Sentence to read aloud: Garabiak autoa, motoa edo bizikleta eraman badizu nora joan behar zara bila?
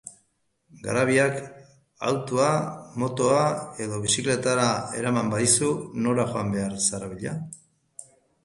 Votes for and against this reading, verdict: 0, 3, rejected